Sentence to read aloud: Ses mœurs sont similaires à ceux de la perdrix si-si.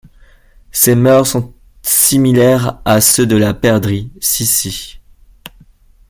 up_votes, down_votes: 2, 1